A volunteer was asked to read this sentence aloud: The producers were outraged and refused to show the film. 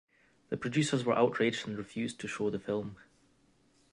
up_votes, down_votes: 2, 0